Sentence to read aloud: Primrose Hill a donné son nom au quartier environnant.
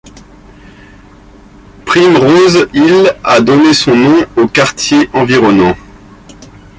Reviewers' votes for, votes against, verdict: 1, 2, rejected